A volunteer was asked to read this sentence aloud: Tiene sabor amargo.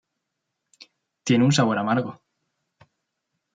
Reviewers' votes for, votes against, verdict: 0, 3, rejected